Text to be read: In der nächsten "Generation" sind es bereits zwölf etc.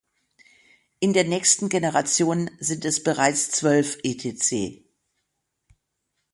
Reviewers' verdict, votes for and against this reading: rejected, 3, 6